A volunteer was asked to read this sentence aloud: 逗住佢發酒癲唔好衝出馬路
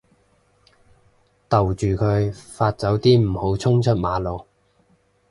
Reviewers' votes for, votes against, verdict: 2, 0, accepted